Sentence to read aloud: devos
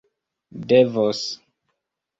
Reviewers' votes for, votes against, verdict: 2, 0, accepted